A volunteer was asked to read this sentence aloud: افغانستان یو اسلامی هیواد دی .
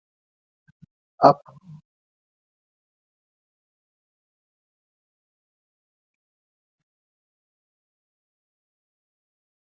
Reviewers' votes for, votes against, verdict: 1, 2, rejected